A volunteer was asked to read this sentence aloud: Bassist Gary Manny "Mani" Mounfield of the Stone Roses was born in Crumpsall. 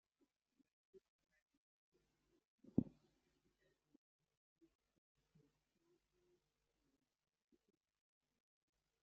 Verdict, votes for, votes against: rejected, 0, 2